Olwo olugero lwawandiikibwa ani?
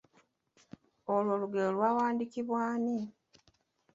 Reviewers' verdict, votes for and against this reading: accepted, 2, 0